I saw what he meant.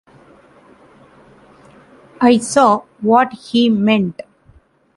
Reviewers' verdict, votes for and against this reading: accepted, 2, 0